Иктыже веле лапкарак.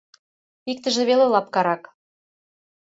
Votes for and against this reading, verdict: 2, 0, accepted